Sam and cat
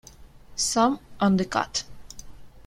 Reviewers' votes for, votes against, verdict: 0, 2, rejected